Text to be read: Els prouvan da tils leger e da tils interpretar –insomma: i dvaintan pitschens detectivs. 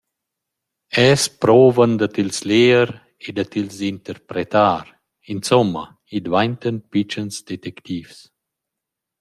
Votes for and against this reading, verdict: 2, 0, accepted